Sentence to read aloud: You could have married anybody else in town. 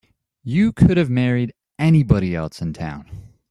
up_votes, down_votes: 2, 0